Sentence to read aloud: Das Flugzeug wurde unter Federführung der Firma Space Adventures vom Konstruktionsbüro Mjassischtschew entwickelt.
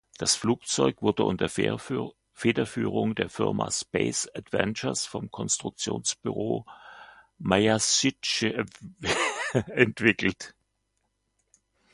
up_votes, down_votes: 0, 2